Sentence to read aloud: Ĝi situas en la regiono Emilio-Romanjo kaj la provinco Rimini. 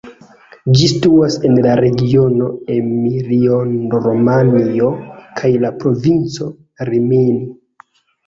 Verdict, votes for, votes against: rejected, 0, 2